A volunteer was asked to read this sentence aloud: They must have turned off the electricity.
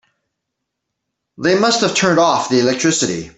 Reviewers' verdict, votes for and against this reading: accepted, 3, 0